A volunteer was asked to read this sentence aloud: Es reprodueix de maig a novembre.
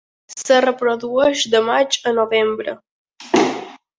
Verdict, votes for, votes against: rejected, 0, 2